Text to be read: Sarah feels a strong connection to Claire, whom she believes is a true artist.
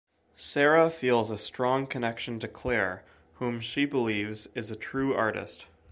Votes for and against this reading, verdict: 2, 0, accepted